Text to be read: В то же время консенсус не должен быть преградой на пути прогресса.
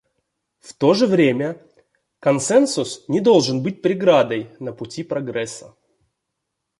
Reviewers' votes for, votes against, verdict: 2, 0, accepted